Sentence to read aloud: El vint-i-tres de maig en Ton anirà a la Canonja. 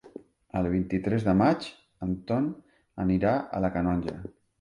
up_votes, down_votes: 3, 0